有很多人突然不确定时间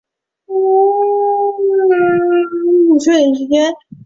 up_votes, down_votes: 2, 3